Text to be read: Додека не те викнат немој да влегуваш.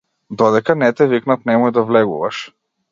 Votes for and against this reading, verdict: 2, 0, accepted